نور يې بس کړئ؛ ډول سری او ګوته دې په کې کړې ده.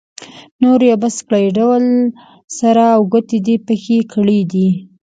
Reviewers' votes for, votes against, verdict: 1, 2, rejected